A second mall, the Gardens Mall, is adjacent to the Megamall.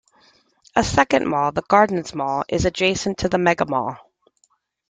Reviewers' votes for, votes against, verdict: 2, 1, accepted